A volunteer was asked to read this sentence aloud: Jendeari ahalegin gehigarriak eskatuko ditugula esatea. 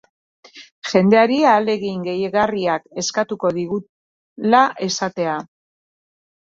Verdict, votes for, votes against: rejected, 0, 2